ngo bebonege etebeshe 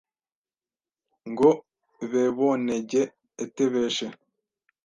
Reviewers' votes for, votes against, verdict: 1, 2, rejected